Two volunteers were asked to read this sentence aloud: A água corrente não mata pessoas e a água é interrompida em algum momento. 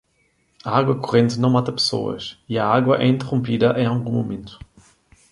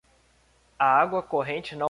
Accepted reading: first